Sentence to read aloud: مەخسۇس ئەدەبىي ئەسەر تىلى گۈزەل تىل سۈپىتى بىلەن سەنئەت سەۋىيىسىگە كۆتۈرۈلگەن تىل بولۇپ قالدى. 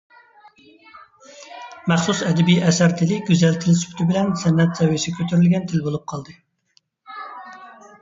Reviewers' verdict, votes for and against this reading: accepted, 2, 0